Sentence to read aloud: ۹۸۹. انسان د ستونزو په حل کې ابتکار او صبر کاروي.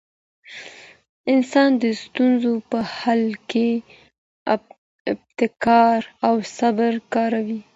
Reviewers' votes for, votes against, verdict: 0, 2, rejected